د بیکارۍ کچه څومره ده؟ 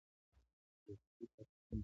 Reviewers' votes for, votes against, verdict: 0, 2, rejected